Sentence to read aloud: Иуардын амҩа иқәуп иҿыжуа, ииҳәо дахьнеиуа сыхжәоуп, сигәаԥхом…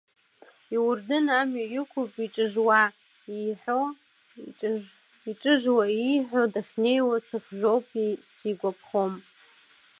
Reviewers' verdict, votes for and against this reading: accepted, 2, 1